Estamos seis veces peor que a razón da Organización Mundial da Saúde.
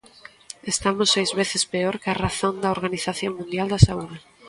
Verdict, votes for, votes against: accepted, 2, 0